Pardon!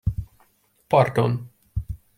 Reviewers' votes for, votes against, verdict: 1, 2, rejected